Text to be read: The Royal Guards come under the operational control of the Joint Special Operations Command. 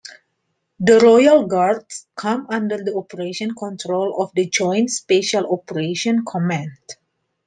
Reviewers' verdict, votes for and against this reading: rejected, 1, 2